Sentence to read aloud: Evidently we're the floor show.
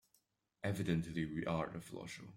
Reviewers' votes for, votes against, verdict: 1, 2, rejected